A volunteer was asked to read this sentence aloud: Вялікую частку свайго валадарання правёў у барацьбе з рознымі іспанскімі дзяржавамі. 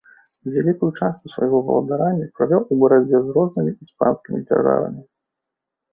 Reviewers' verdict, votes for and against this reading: rejected, 1, 2